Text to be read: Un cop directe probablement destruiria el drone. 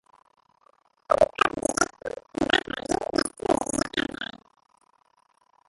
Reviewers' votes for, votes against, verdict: 0, 4, rejected